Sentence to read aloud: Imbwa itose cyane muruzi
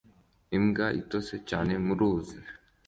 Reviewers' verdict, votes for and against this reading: accepted, 2, 0